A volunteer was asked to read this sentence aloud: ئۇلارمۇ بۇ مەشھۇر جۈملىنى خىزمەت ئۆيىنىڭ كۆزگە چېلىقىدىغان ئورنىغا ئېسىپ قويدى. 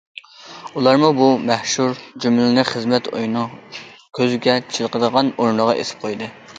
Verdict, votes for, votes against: rejected, 1, 2